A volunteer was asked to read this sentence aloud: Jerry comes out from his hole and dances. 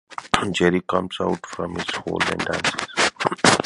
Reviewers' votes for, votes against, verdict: 0, 2, rejected